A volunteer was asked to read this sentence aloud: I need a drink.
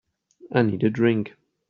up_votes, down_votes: 3, 0